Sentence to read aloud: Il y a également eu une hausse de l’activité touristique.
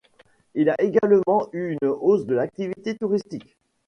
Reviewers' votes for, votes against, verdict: 0, 2, rejected